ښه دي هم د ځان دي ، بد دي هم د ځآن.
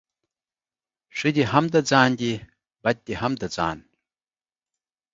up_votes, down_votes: 2, 0